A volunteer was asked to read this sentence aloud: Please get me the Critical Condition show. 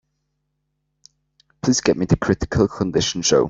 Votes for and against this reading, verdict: 2, 0, accepted